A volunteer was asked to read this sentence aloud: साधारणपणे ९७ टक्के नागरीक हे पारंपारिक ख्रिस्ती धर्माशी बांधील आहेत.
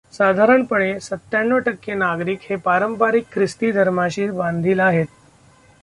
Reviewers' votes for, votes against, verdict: 0, 2, rejected